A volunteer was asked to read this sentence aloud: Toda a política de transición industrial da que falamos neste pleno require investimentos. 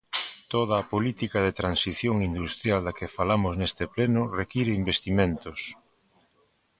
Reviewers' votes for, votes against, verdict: 2, 0, accepted